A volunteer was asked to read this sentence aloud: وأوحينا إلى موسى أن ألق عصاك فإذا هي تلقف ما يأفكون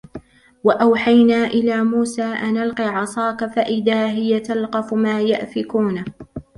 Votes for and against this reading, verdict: 2, 1, accepted